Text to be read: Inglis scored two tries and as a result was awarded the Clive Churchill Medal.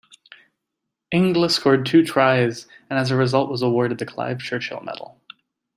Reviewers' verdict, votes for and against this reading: accepted, 2, 1